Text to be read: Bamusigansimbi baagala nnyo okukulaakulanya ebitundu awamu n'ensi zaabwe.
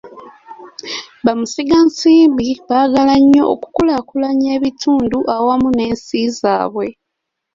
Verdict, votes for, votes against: accepted, 2, 0